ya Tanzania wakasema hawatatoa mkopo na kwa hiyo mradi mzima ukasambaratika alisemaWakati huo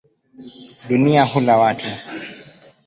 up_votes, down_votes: 0, 4